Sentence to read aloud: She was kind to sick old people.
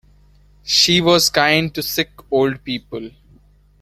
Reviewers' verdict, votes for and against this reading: rejected, 0, 2